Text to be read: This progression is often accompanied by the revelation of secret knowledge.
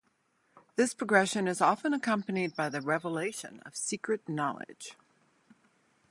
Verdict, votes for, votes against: accepted, 2, 0